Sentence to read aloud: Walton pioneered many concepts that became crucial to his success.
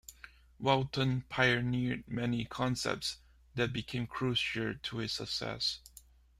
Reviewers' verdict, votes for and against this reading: rejected, 0, 2